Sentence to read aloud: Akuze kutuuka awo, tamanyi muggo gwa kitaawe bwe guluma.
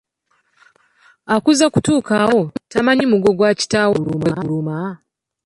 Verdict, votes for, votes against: accepted, 2, 1